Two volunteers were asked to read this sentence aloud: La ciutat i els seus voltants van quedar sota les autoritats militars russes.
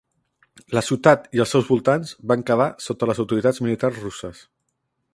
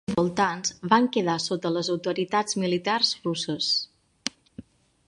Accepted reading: first